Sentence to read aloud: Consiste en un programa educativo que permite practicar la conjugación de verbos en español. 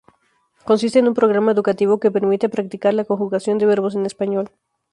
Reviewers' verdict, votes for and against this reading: accepted, 2, 0